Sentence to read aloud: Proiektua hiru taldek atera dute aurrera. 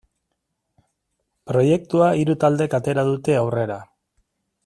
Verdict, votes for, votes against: accepted, 2, 0